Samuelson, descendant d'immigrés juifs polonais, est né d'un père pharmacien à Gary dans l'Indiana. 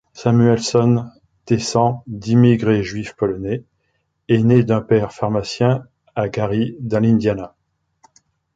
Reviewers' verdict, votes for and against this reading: rejected, 0, 2